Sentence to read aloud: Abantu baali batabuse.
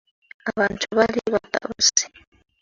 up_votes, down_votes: 0, 2